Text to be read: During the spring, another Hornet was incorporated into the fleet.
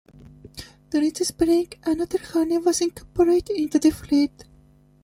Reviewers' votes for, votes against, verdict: 0, 2, rejected